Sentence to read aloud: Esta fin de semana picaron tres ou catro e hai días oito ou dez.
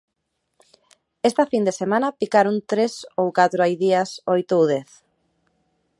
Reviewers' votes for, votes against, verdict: 0, 2, rejected